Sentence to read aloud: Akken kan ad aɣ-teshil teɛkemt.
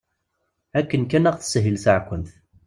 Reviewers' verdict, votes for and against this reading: accepted, 2, 0